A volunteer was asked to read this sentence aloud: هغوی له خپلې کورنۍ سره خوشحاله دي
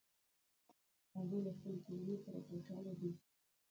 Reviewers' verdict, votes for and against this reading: rejected, 0, 2